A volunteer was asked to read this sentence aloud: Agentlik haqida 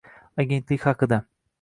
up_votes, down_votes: 2, 0